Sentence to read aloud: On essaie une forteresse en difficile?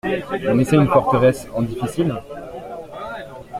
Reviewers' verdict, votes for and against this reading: accepted, 2, 0